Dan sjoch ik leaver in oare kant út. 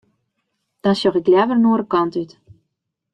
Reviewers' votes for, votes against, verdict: 1, 2, rejected